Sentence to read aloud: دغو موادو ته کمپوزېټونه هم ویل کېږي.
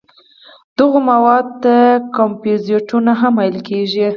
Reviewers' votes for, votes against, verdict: 6, 0, accepted